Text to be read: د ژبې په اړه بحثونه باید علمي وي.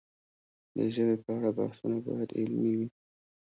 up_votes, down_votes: 1, 2